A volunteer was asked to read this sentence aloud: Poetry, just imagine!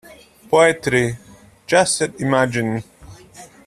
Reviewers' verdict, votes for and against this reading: rejected, 1, 2